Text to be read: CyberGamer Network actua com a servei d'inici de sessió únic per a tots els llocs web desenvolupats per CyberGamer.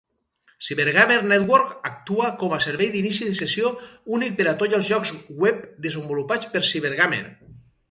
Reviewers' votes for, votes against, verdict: 2, 2, rejected